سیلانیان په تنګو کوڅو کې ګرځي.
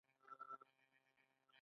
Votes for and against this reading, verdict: 1, 2, rejected